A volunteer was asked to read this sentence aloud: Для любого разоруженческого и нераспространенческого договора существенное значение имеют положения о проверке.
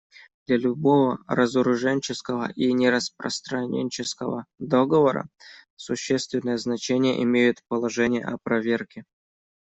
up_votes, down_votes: 2, 1